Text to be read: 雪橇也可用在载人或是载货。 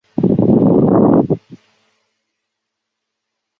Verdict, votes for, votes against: rejected, 0, 3